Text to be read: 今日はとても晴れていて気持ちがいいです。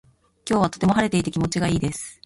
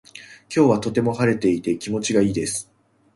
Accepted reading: first